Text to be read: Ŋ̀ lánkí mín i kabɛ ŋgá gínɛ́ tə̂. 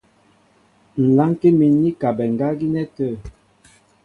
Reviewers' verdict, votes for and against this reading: accepted, 2, 0